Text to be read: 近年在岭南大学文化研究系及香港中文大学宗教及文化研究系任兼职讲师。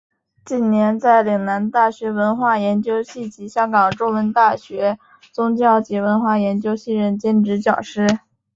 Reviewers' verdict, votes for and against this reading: accepted, 3, 0